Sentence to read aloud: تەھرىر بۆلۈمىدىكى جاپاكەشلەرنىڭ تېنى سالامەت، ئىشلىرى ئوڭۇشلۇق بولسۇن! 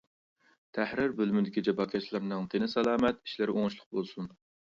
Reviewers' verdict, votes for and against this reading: accepted, 2, 0